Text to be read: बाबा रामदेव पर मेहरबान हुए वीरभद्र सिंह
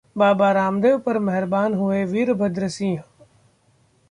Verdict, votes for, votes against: accepted, 2, 0